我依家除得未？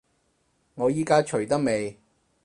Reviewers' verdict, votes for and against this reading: accepted, 4, 0